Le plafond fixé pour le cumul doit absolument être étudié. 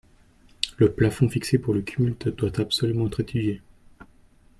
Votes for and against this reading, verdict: 0, 2, rejected